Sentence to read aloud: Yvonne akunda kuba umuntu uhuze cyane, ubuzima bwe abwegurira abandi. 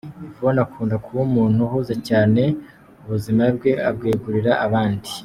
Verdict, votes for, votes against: accepted, 2, 0